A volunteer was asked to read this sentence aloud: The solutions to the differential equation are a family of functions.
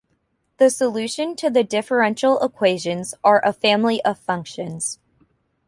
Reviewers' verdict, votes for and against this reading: rejected, 1, 2